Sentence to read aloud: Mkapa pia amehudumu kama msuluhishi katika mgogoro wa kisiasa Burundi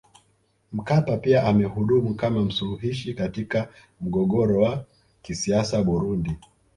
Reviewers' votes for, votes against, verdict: 2, 1, accepted